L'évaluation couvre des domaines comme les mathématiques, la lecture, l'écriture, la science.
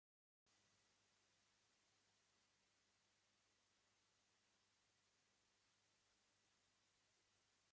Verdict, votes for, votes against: rejected, 0, 2